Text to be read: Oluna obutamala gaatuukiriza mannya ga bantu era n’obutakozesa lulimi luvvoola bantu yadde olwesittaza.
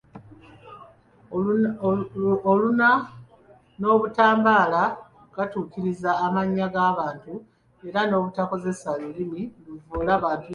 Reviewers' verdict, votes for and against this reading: rejected, 0, 2